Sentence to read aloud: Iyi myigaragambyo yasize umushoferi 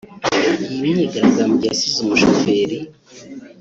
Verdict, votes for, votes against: rejected, 1, 2